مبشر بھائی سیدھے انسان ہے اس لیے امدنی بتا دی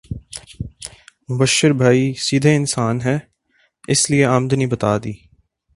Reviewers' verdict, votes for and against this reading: rejected, 2, 2